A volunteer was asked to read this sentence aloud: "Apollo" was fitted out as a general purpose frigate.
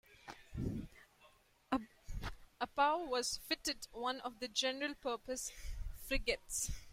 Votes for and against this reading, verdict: 0, 3, rejected